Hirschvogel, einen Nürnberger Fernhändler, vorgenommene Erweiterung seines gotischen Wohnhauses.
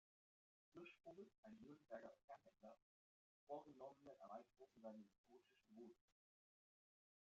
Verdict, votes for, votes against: rejected, 0, 2